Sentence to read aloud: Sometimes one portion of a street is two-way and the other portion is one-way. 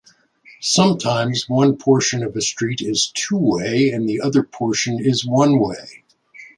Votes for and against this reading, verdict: 2, 0, accepted